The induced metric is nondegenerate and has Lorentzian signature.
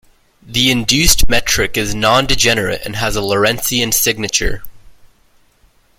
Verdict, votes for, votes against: accepted, 2, 0